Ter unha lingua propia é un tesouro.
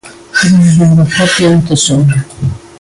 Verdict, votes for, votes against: rejected, 0, 2